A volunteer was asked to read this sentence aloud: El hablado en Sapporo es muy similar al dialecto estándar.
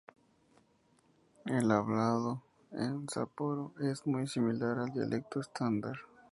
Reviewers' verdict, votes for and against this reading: accepted, 2, 0